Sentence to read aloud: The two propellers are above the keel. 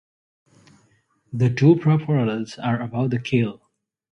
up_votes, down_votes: 0, 2